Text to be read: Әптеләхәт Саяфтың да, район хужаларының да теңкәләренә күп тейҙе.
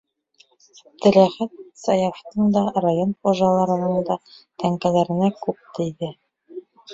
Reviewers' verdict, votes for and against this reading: rejected, 0, 2